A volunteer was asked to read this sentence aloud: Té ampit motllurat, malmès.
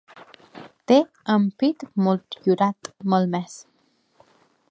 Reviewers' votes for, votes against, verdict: 2, 0, accepted